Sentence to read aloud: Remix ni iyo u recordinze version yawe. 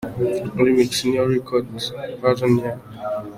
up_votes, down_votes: 2, 0